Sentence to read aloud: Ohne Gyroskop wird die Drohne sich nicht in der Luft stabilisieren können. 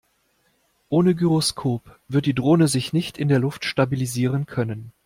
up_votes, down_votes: 2, 0